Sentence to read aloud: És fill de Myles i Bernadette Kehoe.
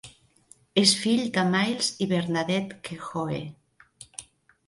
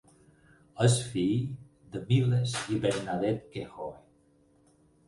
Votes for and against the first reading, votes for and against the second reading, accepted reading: 5, 0, 0, 4, first